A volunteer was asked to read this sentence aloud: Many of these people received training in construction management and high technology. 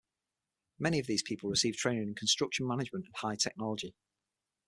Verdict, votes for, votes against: accepted, 6, 0